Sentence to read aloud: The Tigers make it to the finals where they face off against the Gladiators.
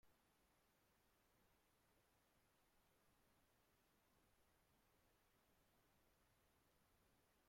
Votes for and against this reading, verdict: 0, 2, rejected